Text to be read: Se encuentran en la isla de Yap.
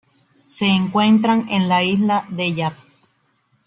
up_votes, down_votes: 0, 2